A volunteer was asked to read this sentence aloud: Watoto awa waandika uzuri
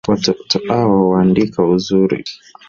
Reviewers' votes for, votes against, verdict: 3, 1, accepted